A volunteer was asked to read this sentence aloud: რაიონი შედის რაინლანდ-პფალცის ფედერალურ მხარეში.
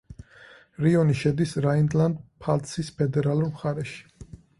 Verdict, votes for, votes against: rejected, 0, 4